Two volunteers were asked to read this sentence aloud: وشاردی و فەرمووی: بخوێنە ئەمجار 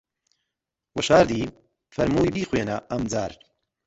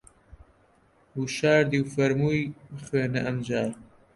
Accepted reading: second